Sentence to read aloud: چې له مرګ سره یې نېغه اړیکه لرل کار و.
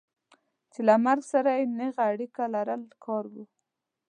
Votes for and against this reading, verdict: 2, 0, accepted